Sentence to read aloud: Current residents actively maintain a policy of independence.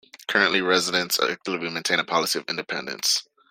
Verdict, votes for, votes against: rejected, 1, 2